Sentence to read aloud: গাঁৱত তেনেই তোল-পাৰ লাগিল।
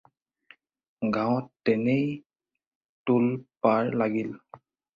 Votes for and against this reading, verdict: 4, 0, accepted